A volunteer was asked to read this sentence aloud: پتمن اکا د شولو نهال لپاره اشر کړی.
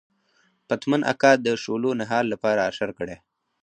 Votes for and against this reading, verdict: 2, 2, rejected